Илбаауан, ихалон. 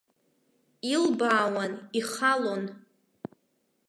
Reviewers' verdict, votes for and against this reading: rejected, 1, 2